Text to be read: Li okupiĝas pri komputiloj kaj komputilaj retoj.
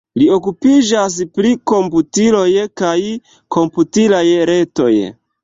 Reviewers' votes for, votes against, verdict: 2, 0, accepted